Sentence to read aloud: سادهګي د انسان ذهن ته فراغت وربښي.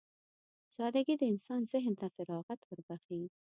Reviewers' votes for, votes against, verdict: 2, 0, accepted